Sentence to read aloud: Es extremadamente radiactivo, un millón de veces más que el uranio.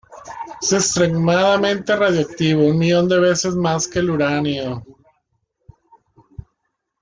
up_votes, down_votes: 2, 0